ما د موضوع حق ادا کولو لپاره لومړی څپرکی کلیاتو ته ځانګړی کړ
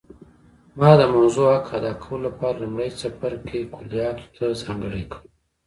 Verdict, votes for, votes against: rejected, 0, 2